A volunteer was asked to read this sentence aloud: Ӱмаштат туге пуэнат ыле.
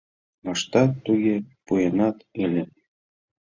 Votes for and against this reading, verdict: 1, 2, rejected